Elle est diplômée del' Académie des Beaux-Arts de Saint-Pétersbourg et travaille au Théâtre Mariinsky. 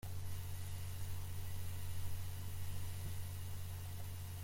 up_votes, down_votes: 0, 2